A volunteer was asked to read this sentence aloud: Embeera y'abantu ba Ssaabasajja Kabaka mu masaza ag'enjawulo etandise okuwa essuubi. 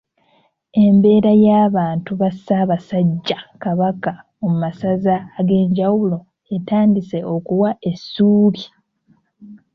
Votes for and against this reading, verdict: 2, 0, accepted